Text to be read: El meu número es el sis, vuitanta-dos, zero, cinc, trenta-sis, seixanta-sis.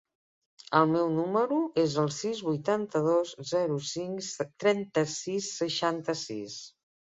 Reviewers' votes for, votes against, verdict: 0, 2, rejected